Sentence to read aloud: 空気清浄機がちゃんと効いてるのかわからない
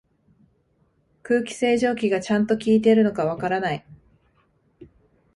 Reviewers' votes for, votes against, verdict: 2, 0, accepted